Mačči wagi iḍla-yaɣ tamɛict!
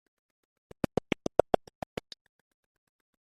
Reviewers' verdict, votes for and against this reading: rejected, 0, 2